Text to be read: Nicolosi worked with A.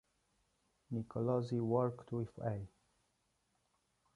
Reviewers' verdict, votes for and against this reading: accepted, 2, 0